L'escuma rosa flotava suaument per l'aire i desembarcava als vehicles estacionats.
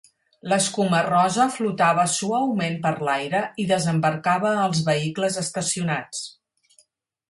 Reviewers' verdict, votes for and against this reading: accepted, 10, 0